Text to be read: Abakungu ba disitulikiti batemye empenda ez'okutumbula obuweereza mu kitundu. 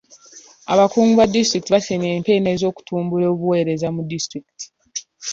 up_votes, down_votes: 3, 2